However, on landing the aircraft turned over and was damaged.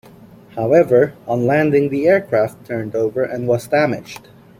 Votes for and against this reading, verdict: 0, 2, rejected